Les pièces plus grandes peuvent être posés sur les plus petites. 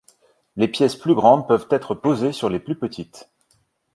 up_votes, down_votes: 2, 0